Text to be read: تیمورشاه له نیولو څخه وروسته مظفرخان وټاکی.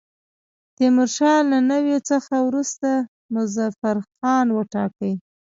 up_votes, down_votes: 2, 0